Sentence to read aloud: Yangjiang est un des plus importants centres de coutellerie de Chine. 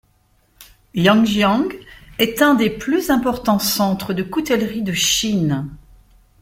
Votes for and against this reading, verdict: 2, 0, accepted